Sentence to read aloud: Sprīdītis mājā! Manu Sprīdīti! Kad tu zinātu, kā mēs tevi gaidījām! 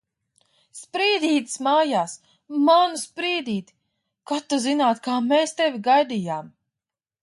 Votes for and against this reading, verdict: 2, 0, accepted